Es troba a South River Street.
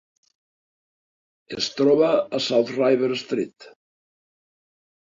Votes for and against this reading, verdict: 3, 0, accepted